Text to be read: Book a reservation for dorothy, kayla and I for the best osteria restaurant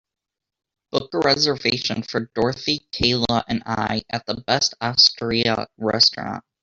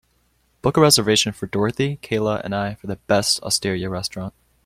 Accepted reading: second